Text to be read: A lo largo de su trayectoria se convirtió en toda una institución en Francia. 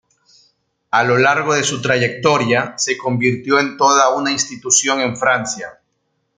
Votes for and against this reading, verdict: 1, 2, rejected